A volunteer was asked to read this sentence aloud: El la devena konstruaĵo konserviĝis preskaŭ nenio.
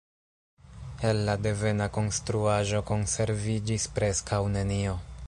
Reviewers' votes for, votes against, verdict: 2, 0, accepted